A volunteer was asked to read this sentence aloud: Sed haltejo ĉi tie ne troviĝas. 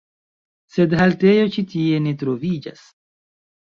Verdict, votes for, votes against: accepted, 2, 1